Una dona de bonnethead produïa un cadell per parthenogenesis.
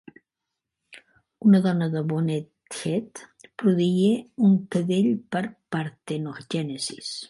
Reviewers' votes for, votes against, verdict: 1, 2, rejected